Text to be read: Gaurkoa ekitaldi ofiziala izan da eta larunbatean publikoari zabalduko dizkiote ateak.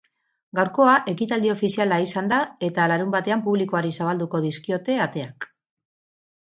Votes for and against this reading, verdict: 12, 0, accepted